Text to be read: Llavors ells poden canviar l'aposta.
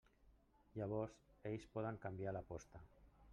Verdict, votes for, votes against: accepted, 3, 0